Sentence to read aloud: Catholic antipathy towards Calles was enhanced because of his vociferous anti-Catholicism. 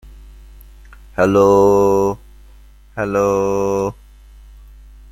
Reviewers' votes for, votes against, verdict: 0, 2, rejected